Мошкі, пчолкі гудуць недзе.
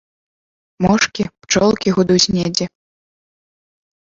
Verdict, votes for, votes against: rejected, 1, 2